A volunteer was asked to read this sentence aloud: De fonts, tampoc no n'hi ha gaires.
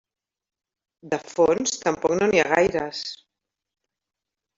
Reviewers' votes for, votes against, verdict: 0, 2, rejected